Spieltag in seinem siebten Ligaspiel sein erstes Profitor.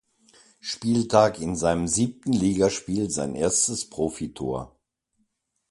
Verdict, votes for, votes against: accepted, 2, 0